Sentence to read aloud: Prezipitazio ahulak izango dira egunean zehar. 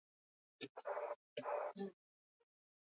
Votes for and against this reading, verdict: 0, 4, rejected